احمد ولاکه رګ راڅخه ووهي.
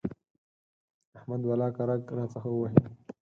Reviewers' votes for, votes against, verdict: 4, 0, accepted